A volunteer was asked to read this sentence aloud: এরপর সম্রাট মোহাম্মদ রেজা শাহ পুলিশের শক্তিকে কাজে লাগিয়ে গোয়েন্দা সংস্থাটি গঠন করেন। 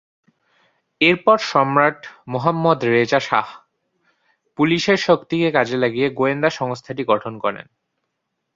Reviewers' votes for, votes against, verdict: 5, 0, accepted